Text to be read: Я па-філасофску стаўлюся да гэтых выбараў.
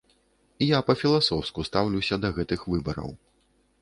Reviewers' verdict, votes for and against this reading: accepted, 2, 0